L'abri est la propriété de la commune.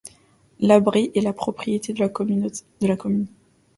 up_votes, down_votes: 0, 2